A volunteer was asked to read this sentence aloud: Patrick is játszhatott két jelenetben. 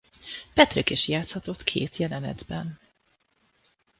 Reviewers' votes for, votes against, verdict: 2, 0, accepted